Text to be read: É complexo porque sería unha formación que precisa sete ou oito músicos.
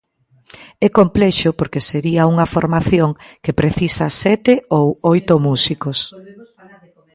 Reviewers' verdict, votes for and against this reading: rejected, 0, 2